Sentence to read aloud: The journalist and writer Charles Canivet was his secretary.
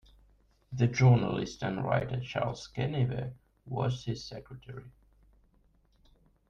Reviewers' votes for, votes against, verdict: 0, 2, rejected